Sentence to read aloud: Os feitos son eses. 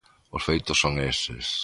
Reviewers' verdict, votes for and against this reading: accepted, 2, 0